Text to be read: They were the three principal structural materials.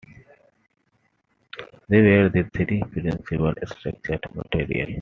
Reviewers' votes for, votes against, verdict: 2, 1, accepted